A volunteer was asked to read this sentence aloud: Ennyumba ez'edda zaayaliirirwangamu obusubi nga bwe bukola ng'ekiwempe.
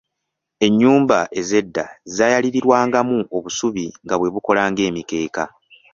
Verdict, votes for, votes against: rejected, 1, 2